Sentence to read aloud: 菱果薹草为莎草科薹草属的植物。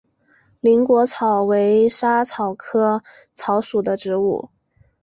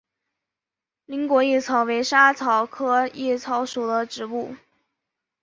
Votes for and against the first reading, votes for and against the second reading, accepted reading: 2, 1, 2, 3, first